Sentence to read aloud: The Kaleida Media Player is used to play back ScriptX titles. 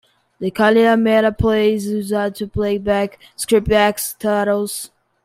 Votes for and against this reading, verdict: 0, 2, rejected